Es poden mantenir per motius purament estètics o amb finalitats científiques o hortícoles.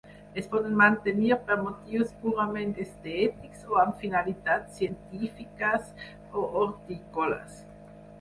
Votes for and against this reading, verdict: 2, 6, rejected